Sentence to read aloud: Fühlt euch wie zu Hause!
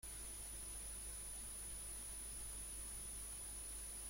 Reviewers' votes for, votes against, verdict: 0, 2, rejected